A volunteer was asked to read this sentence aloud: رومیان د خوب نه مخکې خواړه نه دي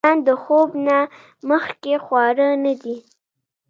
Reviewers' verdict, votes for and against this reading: accepted, 2, 1